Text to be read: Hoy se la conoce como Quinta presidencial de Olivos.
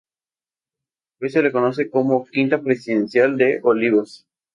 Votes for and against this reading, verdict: 0, 2, rejected